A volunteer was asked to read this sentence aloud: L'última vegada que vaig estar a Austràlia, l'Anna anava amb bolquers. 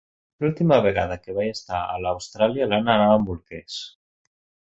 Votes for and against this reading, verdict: 1, 2, rejected